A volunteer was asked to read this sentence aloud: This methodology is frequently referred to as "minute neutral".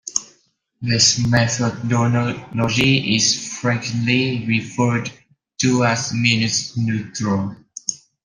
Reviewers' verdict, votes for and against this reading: rejected, 0, 2